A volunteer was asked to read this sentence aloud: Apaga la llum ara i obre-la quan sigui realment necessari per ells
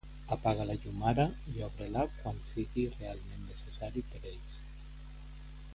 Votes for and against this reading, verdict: 2, 0, accepted